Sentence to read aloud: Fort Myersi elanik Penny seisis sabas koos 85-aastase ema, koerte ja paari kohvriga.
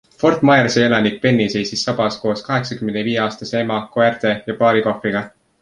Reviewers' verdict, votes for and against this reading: rejected, 0, 2